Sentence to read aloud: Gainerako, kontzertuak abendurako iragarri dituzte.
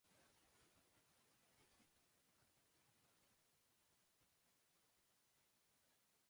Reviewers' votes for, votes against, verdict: 1, 3, rejected